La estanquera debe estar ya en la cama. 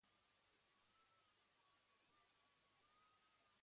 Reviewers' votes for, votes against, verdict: 1, 2, rejected